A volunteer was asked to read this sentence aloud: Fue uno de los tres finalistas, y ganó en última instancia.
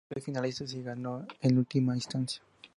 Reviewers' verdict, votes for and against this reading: rejected, 0, 2